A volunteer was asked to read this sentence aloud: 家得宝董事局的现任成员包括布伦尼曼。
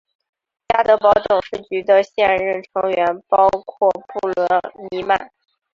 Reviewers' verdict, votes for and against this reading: accepted, 2, 0